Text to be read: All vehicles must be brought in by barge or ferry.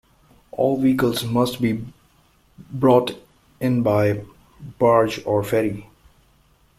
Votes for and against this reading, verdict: 2, 0, accepted